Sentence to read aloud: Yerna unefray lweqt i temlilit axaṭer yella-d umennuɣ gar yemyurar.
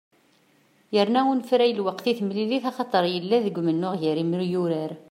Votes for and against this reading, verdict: 2, 1, accepted